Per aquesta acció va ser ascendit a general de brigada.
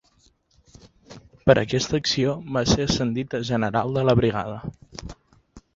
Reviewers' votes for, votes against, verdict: 0, 2, rejected